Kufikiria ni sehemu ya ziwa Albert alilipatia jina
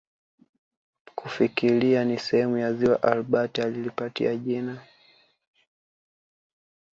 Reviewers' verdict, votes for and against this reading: rejected, 1, 2